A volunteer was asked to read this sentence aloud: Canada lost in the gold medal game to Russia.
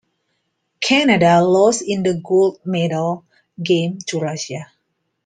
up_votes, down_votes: 2, 0